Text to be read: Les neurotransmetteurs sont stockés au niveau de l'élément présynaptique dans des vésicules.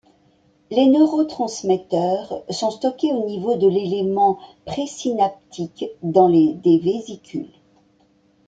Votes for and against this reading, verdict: 1, 2, rejected